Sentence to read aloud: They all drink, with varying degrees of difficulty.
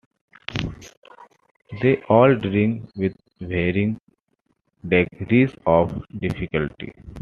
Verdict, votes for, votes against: accepted, 2, 1